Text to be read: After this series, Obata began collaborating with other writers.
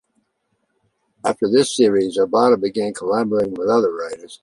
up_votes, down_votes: 2, 0